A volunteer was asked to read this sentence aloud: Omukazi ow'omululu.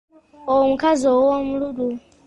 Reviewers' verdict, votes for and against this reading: accepted, 2, 0